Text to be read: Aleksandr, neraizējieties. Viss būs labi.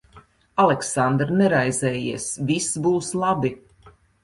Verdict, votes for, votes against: rejected, 0, 2